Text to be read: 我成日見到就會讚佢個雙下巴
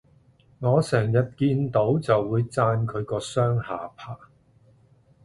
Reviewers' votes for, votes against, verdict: 2, 0, accepted